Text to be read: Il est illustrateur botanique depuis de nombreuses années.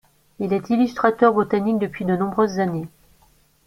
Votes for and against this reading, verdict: 0, 2, rejected